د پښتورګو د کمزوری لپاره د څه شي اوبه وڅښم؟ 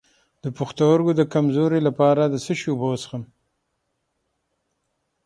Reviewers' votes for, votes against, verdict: 6, 0, accepted